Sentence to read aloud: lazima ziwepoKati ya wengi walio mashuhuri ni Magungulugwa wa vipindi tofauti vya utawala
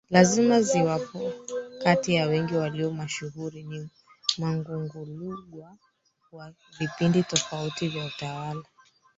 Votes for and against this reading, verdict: 1, 3, rejected